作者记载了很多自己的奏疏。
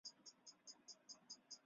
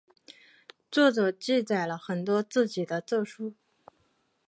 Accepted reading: second